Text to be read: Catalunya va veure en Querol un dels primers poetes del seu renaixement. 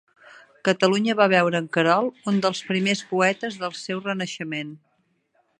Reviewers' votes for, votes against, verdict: 2, 0, accepted